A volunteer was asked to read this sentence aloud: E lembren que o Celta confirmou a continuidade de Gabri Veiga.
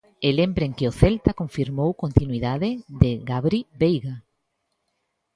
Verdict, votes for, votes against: rejected, 0, 2